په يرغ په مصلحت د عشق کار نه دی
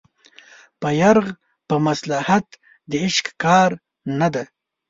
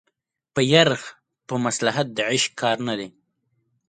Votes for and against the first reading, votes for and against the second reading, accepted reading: 1, 2, 3, 0, second